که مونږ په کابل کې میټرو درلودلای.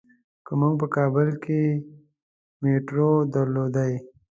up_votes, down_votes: 0, 2